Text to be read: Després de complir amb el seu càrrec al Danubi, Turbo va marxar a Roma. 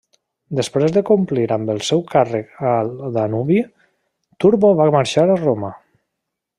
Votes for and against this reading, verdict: 1, 2, rejected